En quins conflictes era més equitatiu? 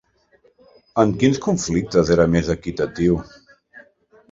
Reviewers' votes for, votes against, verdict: 3, 0, accepted